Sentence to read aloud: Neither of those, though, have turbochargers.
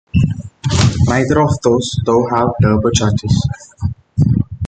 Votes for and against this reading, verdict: 2, 0, accepted